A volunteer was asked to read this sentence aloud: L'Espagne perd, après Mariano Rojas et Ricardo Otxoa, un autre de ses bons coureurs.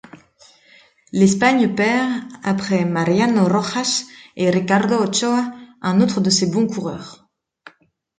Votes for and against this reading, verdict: 2, 0, accepted